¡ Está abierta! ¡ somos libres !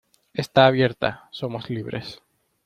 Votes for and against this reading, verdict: 2, 0, accepted